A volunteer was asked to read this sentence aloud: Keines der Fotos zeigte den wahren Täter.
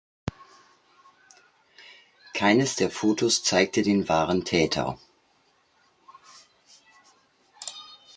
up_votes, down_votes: 2, 0